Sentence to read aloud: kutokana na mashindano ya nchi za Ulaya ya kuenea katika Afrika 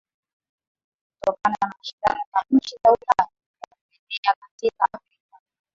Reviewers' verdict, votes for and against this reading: rejected, 0, 2